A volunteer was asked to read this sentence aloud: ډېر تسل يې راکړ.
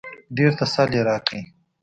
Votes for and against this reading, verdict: 2, 0, accepted